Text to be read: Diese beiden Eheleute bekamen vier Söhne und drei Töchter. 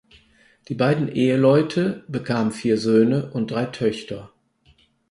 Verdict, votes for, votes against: rejected, 4, 6